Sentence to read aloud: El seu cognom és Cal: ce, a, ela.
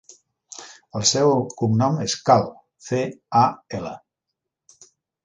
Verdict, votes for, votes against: rejected, 1, 2